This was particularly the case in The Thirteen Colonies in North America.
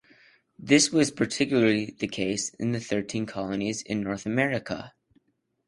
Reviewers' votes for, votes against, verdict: 2, 0, accepted